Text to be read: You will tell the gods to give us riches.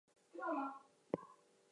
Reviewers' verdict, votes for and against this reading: rejected, 0, 4